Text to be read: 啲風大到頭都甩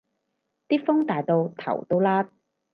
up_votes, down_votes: 4, 0